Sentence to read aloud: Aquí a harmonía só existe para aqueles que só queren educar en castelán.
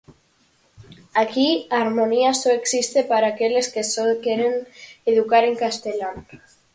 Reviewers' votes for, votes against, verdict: 4, 2, accepted